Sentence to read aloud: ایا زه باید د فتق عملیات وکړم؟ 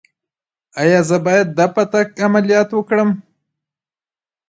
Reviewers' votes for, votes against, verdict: 2, 1, accepted